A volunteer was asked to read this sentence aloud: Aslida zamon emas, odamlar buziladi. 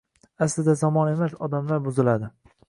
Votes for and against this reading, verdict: 2, 0, accepted